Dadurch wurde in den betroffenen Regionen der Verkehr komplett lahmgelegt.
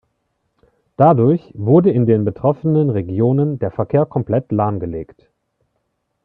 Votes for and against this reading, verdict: 2, 0, accepted